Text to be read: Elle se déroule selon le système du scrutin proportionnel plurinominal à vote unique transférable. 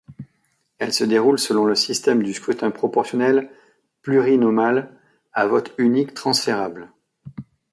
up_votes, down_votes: 0, 2